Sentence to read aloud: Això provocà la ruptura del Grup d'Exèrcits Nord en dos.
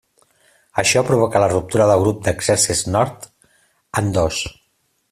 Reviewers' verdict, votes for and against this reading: accepted, 2, 0